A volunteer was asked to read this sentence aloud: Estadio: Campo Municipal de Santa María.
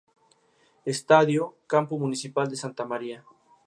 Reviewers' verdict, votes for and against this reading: accepted, 2, 0